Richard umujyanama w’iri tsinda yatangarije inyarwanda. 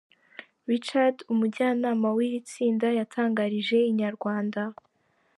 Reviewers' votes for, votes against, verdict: 3, 0, accepted